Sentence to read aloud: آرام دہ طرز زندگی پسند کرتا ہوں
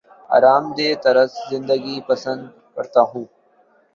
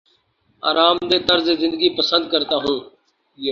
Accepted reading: first